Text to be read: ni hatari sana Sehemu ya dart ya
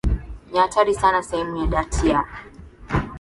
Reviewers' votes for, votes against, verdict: 6, 1, accepted